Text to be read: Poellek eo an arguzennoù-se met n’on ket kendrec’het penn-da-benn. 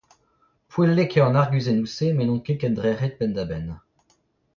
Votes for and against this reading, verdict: 0, 2, rejected